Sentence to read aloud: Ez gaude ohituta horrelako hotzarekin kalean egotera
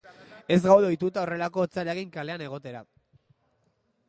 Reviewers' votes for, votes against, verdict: 1, 2, rejected